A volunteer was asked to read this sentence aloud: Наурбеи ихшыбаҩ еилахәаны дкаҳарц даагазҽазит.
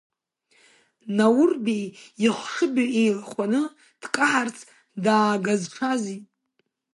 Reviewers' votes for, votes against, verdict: 1, 2, rejected